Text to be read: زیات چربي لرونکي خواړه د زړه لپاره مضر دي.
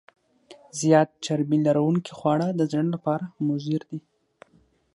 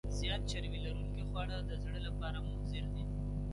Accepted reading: first